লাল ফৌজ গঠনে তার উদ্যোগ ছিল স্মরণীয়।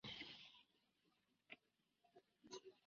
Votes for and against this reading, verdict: 0, 3, rejected